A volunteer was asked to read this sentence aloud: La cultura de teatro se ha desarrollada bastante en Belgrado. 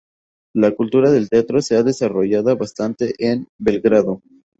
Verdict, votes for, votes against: accepted, 2, 0